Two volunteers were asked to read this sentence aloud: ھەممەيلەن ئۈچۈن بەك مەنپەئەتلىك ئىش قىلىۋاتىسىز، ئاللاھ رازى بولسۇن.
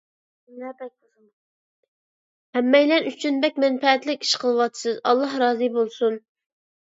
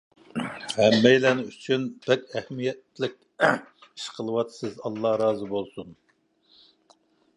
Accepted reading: first